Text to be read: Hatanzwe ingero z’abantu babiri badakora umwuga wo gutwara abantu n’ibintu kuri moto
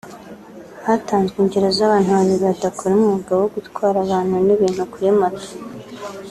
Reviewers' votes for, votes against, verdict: 2, 0, accepted